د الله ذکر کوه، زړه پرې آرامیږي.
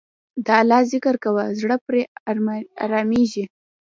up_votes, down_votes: 1, 2